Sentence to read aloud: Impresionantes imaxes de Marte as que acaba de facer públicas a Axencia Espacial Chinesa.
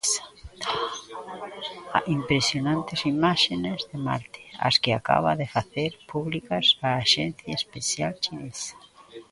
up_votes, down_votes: 0, 2